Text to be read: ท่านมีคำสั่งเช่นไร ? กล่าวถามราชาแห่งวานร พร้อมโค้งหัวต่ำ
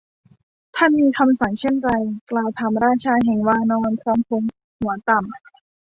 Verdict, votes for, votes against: accepted, 2, 0